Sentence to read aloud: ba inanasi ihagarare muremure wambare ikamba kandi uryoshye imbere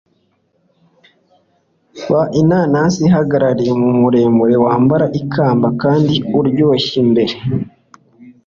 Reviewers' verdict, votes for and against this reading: accepted, 2, 0